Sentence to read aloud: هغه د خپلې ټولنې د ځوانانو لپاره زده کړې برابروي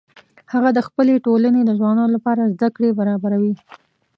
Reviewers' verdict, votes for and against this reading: accepted, 2, 1